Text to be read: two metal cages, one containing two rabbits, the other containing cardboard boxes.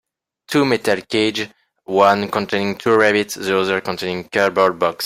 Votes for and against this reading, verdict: 1, 2, rejected